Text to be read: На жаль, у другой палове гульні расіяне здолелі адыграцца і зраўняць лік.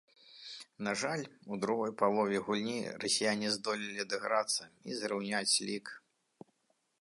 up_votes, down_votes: 2, 0